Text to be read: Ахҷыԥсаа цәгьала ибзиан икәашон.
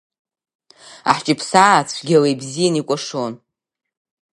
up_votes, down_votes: 8, 1